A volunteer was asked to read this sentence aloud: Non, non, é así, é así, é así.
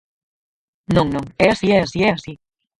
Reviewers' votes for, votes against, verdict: 2, 4, rejected